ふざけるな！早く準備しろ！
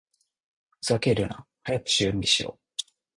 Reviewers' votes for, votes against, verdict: 0, 2, rejected